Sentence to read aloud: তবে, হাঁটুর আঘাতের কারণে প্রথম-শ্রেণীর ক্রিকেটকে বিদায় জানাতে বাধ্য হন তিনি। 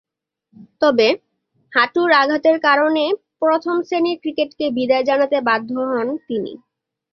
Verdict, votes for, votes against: accepted, 2, 1